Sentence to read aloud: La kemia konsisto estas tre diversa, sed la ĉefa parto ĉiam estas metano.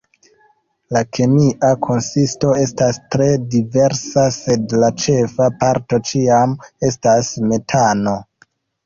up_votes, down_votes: 2, 1